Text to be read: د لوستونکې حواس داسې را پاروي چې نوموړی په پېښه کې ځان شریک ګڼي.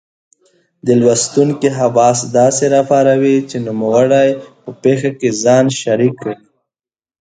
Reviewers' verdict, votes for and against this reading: accepted, 2, 0